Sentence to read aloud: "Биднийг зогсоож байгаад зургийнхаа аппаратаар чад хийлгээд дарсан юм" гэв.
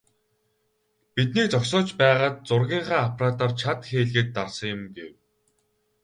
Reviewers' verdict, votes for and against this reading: rejected, 2, 2